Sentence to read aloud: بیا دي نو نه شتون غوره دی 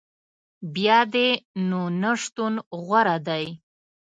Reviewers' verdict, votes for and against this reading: accepted, 2, 0